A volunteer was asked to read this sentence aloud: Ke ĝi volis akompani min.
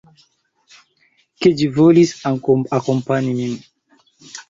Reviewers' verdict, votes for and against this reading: rejected, 1, 3